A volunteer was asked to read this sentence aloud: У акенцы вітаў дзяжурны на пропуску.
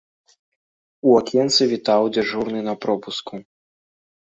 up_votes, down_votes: 3, 0